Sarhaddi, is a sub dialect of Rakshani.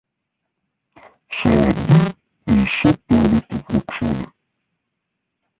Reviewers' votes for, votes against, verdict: 1, 2, rejected